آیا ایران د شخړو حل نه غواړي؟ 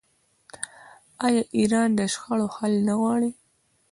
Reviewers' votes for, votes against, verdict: 2, 0, accepted